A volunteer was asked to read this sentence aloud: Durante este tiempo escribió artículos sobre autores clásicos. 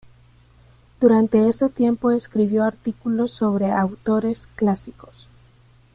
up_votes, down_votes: 0, 2